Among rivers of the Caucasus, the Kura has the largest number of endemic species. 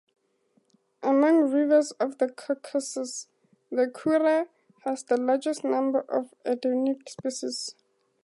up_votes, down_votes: 2, 0